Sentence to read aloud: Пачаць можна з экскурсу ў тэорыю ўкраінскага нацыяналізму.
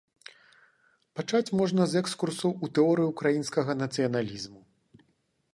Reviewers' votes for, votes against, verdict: 2, 0, accepted